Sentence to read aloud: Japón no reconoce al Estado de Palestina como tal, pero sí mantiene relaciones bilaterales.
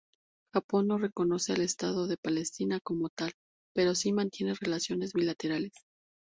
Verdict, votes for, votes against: accepted, 2, 0